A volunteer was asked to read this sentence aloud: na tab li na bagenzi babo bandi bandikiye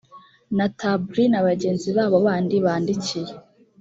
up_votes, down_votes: 2, 0